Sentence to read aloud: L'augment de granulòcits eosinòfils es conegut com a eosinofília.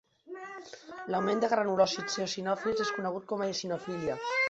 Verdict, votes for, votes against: accepted, 2, 1